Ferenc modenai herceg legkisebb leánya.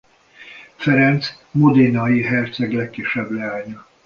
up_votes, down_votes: 2, 0